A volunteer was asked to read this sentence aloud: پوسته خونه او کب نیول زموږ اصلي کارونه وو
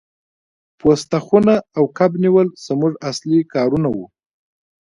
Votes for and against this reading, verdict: 2, 0, accepted